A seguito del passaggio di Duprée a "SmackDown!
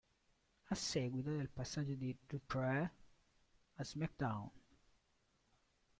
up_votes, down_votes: 0, 2